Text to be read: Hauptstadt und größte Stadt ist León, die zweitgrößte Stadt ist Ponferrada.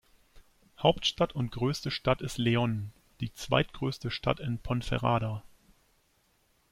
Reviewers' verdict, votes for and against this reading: rejected, 1, 2